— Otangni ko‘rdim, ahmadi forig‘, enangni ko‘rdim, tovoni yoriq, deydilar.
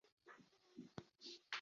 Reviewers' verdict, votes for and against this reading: rejected, 0, 2